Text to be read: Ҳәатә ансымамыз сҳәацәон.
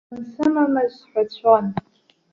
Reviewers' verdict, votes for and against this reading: rejected, 0, 2